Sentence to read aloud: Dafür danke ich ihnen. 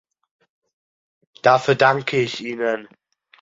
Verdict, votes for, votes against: accepted, 2, 0